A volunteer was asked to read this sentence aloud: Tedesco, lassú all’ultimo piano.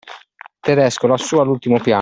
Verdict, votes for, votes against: rejected, 1, 2